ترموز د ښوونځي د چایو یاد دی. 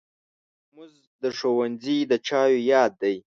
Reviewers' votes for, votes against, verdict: 1, 3, rejected